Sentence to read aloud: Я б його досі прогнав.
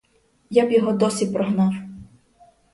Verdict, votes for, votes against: accepted, 4, 0